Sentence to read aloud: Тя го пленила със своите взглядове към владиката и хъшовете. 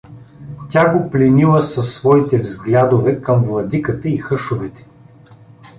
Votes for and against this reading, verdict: 2, 0, accepted